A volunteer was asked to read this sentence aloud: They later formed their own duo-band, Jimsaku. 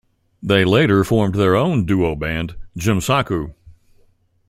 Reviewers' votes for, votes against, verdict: 2, 0, accepted